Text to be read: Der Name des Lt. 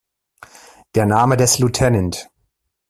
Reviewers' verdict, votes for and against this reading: rejected, 0, 2